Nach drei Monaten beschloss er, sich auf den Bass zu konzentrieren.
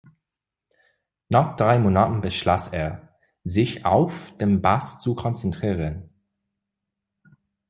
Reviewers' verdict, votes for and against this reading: accepted, 2, 0